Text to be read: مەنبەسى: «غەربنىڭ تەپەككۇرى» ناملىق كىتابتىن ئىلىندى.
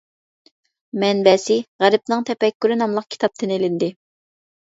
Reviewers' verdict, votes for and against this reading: accepted, 2, 0